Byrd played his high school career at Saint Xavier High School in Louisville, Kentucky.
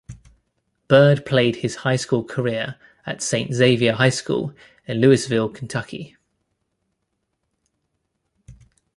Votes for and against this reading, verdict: 0, 2, rejected